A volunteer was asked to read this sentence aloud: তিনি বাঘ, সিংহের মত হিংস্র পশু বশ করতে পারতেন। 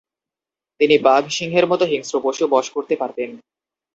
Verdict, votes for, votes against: rejected, 0, 2